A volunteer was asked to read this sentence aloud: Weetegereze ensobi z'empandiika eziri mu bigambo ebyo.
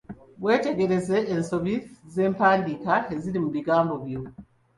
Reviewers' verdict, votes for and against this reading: rejected, 1, 2